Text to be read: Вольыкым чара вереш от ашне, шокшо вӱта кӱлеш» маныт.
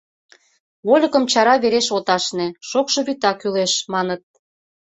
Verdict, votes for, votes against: accepted, 2, 0